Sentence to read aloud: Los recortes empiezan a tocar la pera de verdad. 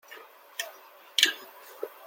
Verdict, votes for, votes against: rejected, 0, 2